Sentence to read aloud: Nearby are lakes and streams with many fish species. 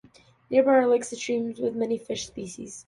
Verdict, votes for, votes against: accepted, 2, 0